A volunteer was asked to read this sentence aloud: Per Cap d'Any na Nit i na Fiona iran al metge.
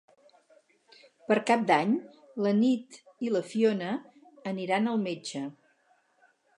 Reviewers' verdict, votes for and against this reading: rejected, 2, 2